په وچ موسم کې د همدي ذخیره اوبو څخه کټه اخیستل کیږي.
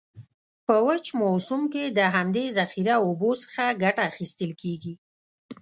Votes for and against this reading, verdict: 2, 0, accepted